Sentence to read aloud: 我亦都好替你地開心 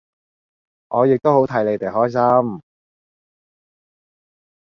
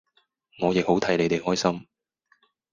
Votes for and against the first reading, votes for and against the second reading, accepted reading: 2, 0, 2, 2, first